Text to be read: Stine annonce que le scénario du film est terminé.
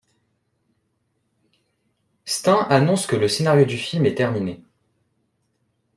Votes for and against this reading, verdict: 1, 2, rejected